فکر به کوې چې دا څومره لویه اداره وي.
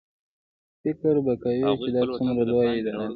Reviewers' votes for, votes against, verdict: 1, 2, rejected